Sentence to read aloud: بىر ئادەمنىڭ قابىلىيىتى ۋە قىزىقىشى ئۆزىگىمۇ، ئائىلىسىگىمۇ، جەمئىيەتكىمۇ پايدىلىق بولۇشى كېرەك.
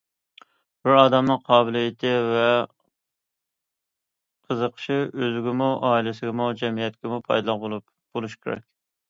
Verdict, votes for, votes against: rejected, 0, 2